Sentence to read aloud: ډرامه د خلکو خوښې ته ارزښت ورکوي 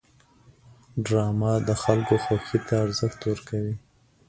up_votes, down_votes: 1, 2